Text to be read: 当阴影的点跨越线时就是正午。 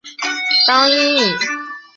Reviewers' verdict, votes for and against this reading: rejected, 0, 3